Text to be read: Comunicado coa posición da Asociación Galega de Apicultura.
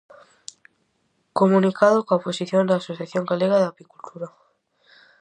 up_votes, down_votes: 2, 2